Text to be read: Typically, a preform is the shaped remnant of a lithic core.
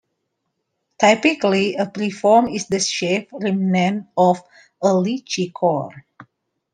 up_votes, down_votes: 1, 2